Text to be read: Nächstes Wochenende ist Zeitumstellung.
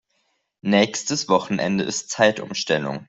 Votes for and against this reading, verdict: 2, 0, accepted